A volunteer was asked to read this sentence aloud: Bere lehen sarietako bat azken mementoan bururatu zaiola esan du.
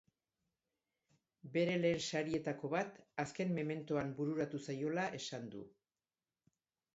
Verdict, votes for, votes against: accepted, 3, 2